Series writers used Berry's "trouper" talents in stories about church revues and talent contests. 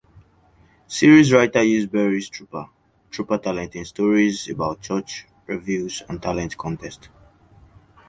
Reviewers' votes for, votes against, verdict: 1, 2, rejected